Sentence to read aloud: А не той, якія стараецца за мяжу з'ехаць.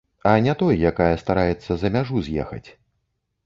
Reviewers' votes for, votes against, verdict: 0, 2, rejected